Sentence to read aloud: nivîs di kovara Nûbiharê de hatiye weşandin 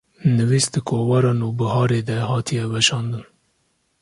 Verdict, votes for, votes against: accepted, 2, 0